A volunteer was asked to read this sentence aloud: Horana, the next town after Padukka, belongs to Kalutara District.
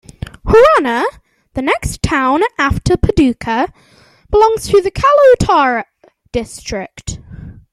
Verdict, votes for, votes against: accepted, 2, 0